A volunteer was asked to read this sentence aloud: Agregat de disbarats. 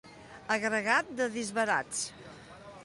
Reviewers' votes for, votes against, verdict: 2, 0, accepted